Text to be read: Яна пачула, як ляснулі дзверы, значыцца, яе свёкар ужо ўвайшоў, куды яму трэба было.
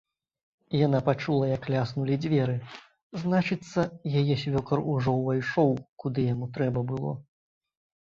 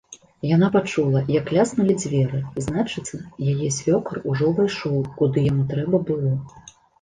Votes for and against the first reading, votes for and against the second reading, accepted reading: 2, 0, 1, 2, first